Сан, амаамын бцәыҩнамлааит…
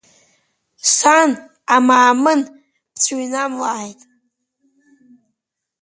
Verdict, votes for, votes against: accepted, 2, 0